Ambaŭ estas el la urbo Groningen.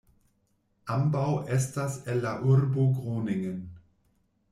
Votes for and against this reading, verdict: 2, 0, accepted